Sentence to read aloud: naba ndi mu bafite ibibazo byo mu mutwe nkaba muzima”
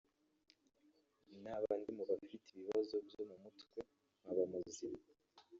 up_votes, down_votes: 2, 3